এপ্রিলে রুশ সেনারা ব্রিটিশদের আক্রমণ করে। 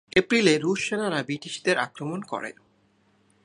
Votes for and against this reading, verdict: 25, 0, accepted